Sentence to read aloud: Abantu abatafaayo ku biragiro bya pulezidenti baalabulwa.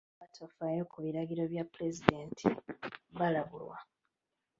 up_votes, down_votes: 0, 2